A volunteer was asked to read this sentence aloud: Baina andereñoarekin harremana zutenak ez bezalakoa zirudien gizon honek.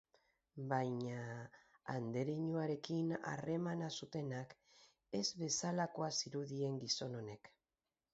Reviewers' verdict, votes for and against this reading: rejected, 0, 2